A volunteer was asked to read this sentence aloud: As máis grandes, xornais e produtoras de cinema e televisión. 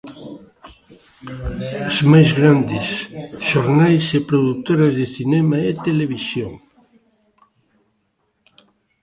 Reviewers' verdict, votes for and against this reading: rejected, 0, 2